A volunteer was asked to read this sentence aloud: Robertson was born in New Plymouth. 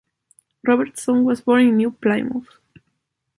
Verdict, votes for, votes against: rejected, 0, 2